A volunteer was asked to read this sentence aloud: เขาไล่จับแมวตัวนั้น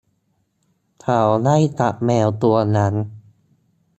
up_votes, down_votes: 0, 2